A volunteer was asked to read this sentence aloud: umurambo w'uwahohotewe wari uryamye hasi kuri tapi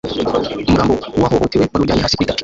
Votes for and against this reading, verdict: 2, 0, accepted